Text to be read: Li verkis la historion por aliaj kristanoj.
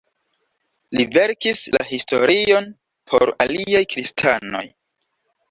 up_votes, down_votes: 2, 0